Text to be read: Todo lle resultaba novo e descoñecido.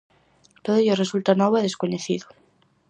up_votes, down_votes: 2, 2